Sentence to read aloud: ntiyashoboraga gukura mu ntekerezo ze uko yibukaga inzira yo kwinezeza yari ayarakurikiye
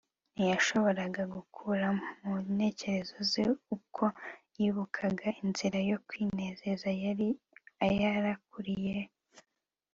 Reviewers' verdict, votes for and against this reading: accepted, 2, 1